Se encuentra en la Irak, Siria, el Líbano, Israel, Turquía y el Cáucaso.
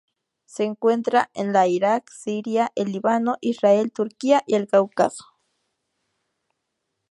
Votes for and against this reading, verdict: 2, 0, accepted